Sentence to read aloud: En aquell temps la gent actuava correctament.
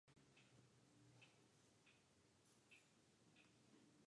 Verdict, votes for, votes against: rejected, 0, 2